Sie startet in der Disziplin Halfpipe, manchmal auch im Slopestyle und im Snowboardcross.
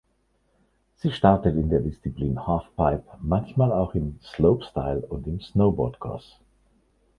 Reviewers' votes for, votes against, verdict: 2, 0, accepted